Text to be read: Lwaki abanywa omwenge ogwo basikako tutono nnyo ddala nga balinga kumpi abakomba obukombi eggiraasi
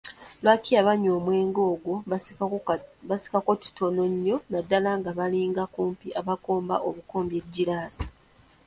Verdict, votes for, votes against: rejected, 1, 2